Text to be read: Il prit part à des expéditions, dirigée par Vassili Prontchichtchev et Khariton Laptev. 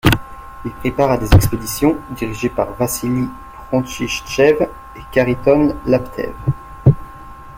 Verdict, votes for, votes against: rejected, 1, 2